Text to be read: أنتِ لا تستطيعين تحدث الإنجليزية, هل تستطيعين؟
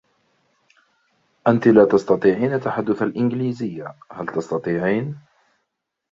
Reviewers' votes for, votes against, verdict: 0, 2, rejected